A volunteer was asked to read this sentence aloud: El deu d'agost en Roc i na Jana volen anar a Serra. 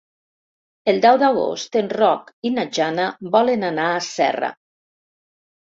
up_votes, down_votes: 3, 0